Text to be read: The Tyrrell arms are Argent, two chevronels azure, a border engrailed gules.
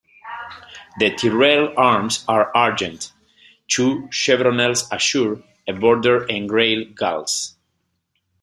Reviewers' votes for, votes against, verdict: 2, 1, accepted